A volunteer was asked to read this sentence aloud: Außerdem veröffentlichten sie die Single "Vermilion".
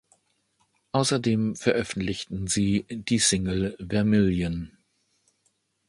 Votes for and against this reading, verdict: 2, 0, accepted